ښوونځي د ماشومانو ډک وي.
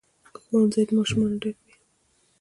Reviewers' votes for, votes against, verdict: 3, 0, accepted